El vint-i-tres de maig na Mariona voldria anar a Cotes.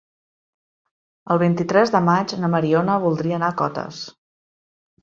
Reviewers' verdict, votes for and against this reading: accepted, 3, 0